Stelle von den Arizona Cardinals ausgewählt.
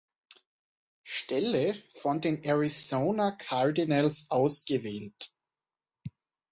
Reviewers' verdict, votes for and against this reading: accepted, 2, 0